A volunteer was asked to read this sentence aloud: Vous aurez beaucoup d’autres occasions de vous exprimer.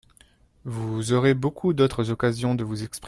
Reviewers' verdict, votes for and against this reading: rejected, 0, 2